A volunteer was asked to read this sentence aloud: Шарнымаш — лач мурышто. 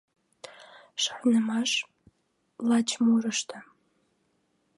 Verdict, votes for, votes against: accepted, 2, 0